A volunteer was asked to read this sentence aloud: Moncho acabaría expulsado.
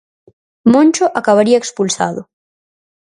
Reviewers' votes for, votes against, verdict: 4, 0, accepted